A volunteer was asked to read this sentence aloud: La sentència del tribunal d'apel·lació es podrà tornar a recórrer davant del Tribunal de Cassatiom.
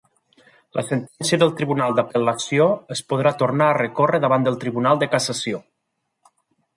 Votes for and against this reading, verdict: 1, 2, rejected